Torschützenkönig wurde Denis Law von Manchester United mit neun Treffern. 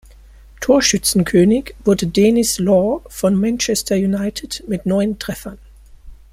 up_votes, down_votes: 2, 0